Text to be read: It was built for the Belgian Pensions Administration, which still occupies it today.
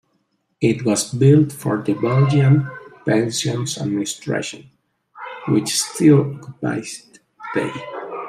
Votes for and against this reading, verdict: 2, 0, accepted